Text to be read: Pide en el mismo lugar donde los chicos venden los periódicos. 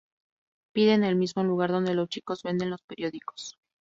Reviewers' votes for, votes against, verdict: 2, 0, accepted